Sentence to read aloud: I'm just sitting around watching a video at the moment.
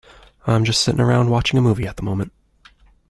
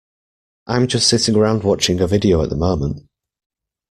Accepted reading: second